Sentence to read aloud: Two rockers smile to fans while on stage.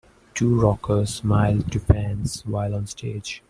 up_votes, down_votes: 2, 0